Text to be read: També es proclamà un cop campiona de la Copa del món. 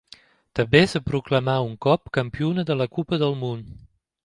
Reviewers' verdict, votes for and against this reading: rejected, 1, 2